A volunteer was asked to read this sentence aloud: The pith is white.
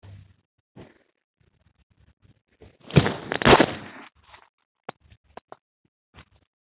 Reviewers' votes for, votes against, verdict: 0, 2, rejected